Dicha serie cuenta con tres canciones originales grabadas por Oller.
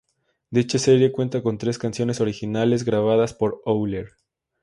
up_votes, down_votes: 2, 0